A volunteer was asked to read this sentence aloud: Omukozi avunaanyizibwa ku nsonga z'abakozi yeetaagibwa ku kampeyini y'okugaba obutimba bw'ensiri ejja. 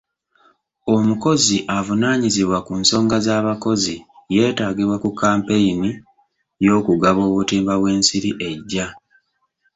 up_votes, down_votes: 2, 0